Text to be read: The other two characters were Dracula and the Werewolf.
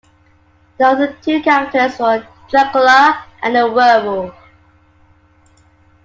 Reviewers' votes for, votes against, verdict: 2, 1, accepted